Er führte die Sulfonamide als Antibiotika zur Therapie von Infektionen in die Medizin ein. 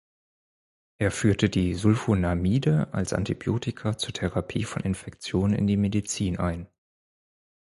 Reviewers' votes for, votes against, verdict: 4, 0, accepted